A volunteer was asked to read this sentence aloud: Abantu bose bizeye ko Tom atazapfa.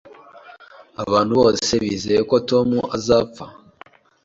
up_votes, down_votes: 1, 2